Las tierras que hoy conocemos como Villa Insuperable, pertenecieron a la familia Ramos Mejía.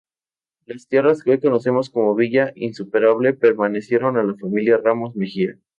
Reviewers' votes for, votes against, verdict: 0, 2, rejected